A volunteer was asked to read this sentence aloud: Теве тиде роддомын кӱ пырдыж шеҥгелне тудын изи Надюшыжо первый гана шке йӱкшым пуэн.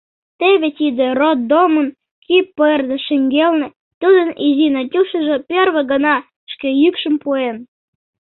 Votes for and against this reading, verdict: 2, 0, accepted